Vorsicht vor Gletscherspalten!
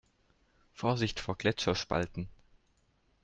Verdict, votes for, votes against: accepted, 2, 0